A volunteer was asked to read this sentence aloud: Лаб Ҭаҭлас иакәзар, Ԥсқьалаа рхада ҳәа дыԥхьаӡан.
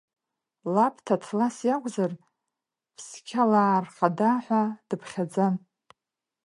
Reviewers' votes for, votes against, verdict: 2, 0, accepted